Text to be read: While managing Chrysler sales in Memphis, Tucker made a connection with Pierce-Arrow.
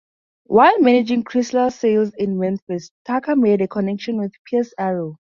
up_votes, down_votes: 2, 4